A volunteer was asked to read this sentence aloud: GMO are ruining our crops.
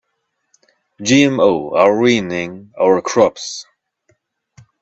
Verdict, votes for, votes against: rejected, 0, 2